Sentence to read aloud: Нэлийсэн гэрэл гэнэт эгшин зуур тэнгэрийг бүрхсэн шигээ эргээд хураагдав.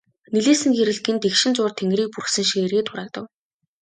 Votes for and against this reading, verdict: 2, 0, accepted